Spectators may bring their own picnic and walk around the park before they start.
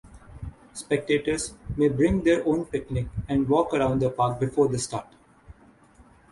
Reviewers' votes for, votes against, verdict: 3, 3, rejected